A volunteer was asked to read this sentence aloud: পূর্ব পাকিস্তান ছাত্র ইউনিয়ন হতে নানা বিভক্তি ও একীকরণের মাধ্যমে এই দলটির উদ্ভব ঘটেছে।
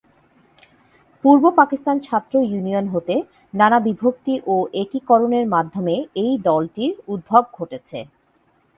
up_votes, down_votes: 2, 0